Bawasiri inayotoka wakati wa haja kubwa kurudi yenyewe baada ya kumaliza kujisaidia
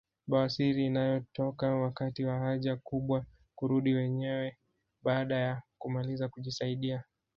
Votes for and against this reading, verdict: 0, 2, rejected